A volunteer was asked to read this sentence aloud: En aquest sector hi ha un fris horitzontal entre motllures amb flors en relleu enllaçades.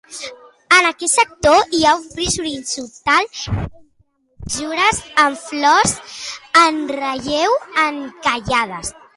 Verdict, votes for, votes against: rejected, 0, 2